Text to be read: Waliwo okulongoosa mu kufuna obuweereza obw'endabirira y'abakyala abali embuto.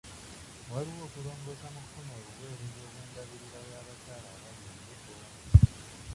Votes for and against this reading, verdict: 0, 2, rejected